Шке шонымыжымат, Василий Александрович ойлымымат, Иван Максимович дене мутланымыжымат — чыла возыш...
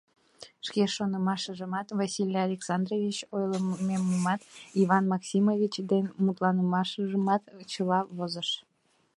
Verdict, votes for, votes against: rejected, 0, 2